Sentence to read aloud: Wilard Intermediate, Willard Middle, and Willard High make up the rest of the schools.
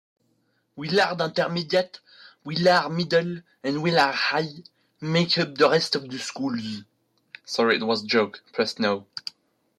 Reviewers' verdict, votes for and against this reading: rejected, 1, 3